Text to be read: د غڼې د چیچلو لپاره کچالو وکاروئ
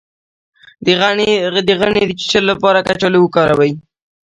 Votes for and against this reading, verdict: 2, 0, accepted